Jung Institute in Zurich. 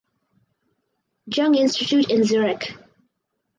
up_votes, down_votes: 2, 2